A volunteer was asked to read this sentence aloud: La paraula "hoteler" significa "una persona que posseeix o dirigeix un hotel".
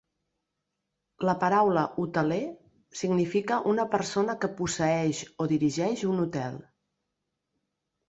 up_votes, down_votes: 3, 0